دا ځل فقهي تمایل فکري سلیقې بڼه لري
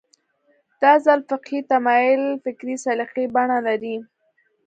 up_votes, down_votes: 2, 0